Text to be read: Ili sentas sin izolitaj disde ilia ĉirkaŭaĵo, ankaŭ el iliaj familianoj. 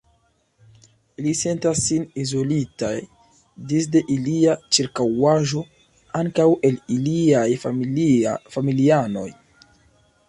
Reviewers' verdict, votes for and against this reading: accepted, 2, 0